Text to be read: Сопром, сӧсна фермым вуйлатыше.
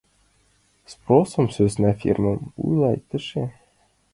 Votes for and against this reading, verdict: 0, 2, rejected